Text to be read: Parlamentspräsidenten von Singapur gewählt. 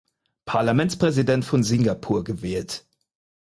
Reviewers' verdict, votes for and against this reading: rejected, 0, 4